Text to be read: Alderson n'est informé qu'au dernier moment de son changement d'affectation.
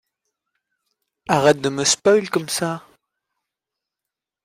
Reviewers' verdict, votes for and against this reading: rejected, 0, 2